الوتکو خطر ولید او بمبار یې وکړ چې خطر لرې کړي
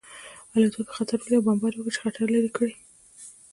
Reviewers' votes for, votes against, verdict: 1, 2, rejected